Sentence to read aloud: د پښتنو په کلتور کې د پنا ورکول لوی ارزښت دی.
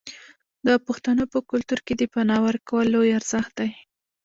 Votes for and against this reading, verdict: 2, 0, accepted